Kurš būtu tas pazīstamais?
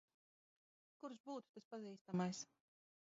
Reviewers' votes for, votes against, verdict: 0, 2, rejected